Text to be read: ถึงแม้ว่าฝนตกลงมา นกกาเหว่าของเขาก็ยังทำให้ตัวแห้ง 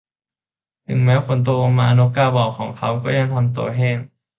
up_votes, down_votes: 0, 2